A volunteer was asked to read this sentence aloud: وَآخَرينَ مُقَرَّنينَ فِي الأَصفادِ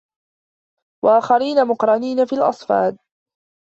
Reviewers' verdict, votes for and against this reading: accepted, 2, 1